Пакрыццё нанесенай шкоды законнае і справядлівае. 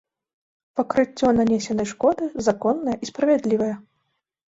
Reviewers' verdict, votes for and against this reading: accepted, 2, 0